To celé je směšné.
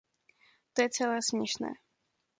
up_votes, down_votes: 0, 2